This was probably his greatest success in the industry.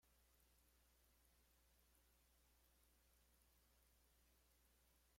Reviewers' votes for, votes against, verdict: 0, 2, rejected